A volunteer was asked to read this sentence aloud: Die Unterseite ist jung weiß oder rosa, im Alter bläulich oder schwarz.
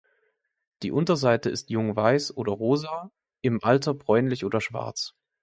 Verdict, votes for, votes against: accepted, 2, 1